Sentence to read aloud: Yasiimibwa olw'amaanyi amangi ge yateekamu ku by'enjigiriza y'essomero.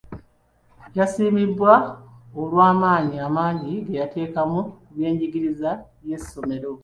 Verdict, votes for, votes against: accepted, 2, 1